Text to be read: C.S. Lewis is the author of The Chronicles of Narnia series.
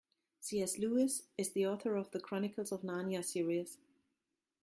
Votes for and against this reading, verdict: 1, 2, rejected